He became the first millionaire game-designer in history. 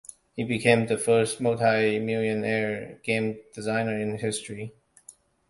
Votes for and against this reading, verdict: 0, 2, rejected